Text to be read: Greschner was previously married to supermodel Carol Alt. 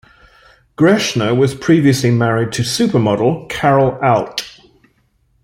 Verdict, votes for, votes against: accepted, 2, 0